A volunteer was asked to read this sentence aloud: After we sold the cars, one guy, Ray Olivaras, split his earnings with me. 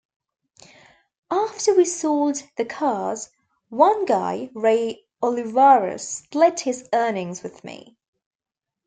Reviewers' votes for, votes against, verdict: 2, 0, accepted